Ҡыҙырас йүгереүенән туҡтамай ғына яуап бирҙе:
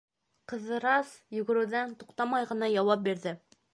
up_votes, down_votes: 0, 2